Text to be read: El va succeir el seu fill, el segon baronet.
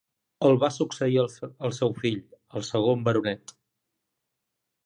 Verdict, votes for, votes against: rejected, 0, 2